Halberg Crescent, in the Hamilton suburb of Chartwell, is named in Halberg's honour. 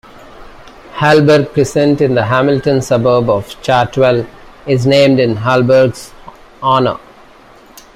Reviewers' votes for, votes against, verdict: 2, 0, accepted